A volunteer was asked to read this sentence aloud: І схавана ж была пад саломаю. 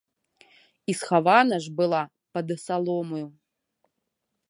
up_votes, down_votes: 1, 3